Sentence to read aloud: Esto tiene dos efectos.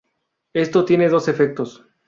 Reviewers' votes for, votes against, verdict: 0, 2, rejected